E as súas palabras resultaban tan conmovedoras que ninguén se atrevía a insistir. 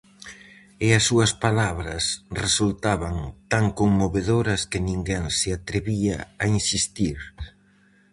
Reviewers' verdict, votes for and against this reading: accepted, 4, 0